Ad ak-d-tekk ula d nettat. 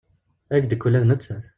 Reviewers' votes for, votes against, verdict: 1, 2, rejected